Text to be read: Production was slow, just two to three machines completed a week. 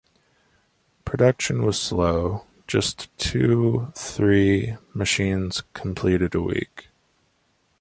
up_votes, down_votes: 1, 2